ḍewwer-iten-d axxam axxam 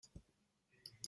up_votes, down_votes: 1, 2